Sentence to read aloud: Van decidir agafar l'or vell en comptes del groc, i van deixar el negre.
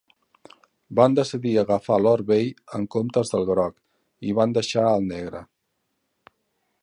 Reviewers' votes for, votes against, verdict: 2, 0, accepted